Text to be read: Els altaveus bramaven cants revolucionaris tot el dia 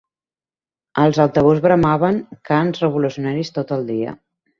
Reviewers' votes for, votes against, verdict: 2, 1, accepted